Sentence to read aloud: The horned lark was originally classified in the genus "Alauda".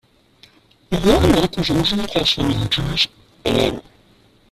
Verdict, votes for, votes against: rejected, 0, 2